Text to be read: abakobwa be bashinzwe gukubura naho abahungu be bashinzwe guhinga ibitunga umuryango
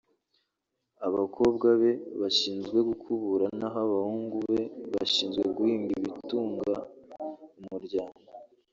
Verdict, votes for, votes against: rejected, 0, 2